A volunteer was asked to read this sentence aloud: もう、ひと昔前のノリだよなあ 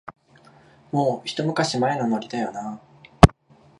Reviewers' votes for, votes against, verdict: 2, 0, accepted